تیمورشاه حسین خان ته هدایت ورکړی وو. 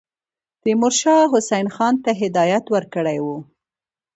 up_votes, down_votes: 2, 0